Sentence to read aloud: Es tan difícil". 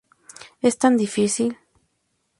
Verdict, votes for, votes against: accepted, 2, 0